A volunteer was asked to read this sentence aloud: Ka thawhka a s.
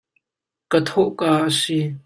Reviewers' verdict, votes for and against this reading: rejected, 1, 2